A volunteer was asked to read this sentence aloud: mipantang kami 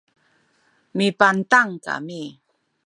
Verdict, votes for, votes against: accepted, 2, 0